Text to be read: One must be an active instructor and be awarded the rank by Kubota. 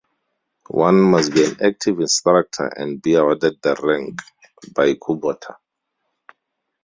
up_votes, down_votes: 2, 0